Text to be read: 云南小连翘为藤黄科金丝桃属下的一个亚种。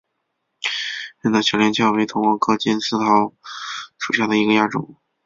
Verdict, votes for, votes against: accepted, 3, 1